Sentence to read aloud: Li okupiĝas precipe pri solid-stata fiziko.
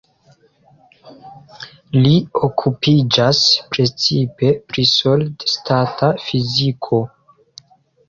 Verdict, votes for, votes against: rejected, 0, 2